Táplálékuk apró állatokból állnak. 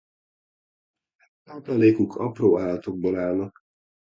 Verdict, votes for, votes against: rejected, 1, 2